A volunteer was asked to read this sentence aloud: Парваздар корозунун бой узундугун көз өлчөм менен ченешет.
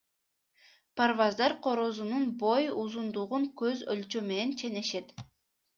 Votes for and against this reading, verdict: 2, 0, accepted